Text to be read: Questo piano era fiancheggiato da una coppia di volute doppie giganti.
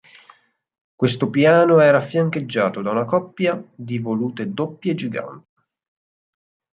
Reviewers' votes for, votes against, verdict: 0, 4, rejected